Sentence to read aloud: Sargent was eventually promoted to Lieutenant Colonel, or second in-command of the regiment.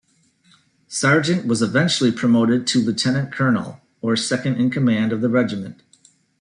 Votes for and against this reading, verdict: 2, 0, accepted